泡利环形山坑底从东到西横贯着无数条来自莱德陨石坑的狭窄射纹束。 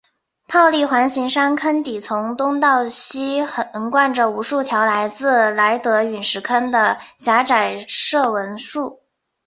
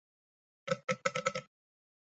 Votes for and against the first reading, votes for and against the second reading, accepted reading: 3, 0, 2, 3, first